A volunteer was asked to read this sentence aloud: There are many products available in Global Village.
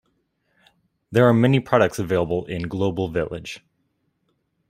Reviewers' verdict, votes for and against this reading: accepted, 2, 0